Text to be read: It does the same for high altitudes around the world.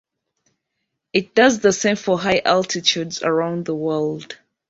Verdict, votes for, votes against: accepted, 2, 0